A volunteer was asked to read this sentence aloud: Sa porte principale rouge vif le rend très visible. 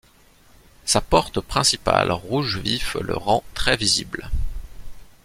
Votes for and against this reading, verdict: 2, 0, accepted